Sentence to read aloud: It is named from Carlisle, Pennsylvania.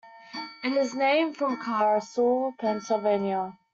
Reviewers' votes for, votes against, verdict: 0, 2, rejected